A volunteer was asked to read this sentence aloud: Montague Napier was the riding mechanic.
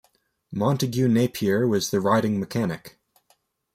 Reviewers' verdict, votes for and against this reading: accepted, 2, 0